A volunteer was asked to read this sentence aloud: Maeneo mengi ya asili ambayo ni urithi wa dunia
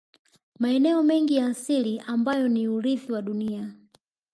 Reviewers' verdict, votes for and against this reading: accepted, 2, 0